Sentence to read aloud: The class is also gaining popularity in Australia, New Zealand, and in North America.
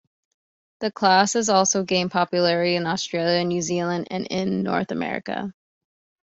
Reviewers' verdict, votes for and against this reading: rejected, 1, 2